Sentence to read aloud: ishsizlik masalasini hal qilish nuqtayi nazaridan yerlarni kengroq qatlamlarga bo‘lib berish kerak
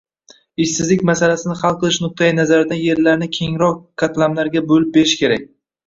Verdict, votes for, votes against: rejected, 1, 2